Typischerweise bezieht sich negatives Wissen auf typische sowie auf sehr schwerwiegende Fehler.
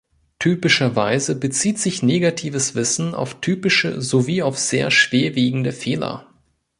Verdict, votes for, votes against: accepted, 3, 0